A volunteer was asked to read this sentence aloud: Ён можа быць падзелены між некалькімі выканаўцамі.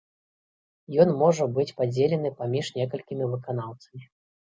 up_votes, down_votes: 0, 2